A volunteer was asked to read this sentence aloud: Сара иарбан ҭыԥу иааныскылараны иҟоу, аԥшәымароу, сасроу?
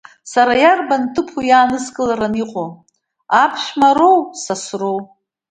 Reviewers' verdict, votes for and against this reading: accepted, 2, 0